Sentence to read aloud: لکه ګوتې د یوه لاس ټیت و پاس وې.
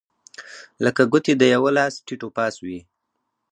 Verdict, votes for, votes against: accepted, 2, 0